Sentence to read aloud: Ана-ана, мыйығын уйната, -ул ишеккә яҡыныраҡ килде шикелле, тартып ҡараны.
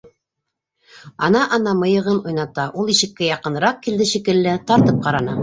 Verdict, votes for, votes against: rejected, 1, 2